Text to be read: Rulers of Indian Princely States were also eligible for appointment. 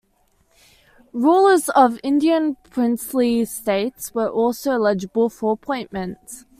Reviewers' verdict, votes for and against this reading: accepted, 2, 0